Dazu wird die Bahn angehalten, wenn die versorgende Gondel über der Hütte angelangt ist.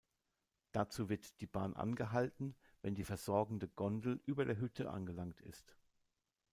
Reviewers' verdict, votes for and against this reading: rejected, 1, 2